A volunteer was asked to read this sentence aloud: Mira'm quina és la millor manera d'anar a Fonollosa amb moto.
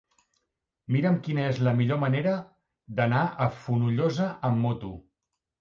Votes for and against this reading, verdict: 2, 0, accepted